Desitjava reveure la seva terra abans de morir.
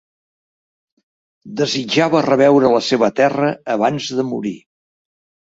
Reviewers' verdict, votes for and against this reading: accepted, 5, 0